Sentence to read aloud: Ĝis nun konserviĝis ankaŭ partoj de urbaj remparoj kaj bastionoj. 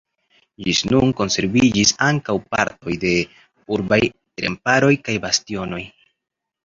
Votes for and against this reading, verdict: 2, 0, accepted